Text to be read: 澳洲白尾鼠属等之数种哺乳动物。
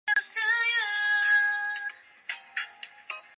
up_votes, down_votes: 0, 2